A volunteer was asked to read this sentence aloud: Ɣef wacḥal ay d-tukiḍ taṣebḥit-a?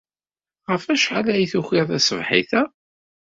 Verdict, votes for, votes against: rejected, 0, 2